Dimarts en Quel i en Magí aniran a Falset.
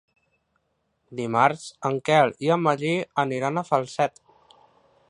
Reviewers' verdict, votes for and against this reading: accepted, 2, 0